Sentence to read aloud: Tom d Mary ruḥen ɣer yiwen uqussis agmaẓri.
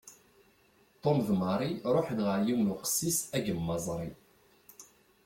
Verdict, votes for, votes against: rejected, 1, 2